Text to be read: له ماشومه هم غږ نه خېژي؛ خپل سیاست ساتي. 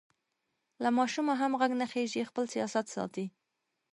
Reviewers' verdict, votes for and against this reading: accepted, 2, 0